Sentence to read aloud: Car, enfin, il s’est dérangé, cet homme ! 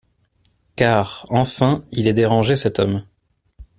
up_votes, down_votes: 0, 2